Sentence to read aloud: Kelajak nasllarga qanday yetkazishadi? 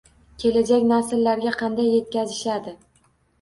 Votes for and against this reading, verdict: 2, 0, accepted